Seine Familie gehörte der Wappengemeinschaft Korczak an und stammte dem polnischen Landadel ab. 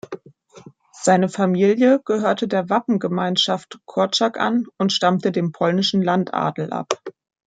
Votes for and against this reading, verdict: 2, 0, accepted